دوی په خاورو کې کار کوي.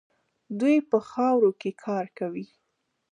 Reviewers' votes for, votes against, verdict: 2, 1, accepted